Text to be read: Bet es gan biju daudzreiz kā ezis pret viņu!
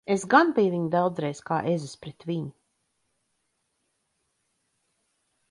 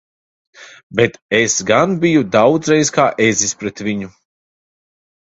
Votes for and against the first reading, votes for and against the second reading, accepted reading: 0, 2, 2, 0, second